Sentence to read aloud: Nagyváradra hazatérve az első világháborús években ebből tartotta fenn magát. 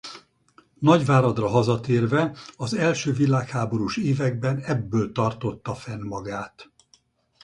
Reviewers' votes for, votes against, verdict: 4, 0, accepted